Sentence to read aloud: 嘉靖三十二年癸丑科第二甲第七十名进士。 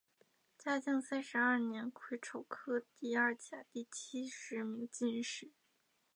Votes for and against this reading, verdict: 2, 0, accepted